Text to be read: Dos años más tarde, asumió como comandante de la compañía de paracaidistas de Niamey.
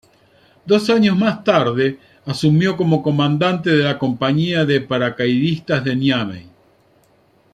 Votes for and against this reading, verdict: 2, 0, accepted